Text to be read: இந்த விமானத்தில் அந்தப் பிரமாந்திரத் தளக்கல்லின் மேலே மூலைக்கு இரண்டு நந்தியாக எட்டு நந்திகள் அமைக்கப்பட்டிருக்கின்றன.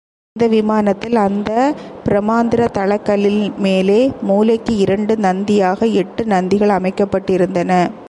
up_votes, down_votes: 1, 2